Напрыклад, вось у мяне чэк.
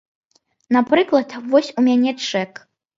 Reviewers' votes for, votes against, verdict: 2, 0, accepted